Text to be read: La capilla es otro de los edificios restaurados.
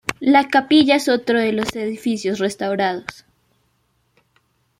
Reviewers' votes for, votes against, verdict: 2, 0, accepted